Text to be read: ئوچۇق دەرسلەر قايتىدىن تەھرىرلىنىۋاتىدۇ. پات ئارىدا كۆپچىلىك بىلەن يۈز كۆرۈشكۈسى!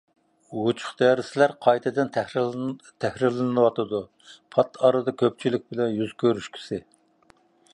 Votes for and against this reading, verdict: 0, 2, rejected